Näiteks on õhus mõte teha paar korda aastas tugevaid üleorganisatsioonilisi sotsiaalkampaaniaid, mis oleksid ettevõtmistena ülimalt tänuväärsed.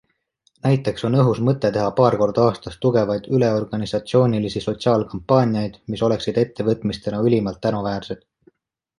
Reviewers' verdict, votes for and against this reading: accepted, 2, 0